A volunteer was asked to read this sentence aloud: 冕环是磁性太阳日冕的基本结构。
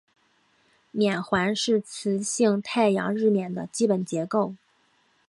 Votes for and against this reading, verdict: 2, 0, accepted